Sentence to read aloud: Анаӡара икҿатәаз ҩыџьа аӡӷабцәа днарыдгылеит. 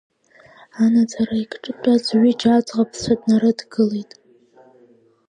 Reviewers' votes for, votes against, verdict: 1, 2, rejected